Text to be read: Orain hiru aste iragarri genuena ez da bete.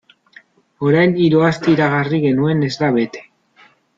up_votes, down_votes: 0, 2